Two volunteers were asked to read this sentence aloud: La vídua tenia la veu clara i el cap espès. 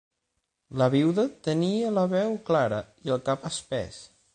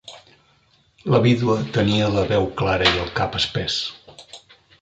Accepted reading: second